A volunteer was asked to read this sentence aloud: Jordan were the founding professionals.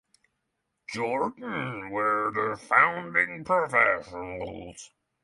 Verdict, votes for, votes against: accepted, 6, 0